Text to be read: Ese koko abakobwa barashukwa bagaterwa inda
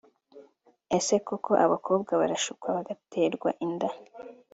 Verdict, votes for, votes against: accepted, 2, 1